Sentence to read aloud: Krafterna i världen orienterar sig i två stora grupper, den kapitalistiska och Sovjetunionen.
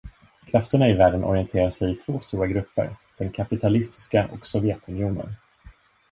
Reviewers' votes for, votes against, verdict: 2, 1, accepted